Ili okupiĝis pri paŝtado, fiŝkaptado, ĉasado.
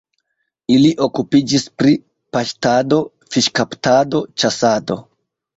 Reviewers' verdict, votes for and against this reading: accepted, 2, 0